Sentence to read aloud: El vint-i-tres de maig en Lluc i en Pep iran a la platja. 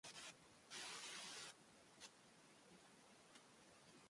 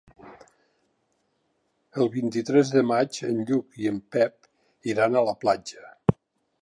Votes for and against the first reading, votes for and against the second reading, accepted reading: 0, 2, 3, 0, second